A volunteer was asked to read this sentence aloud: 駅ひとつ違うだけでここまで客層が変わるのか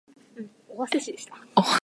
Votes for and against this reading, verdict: 0, 2, rejected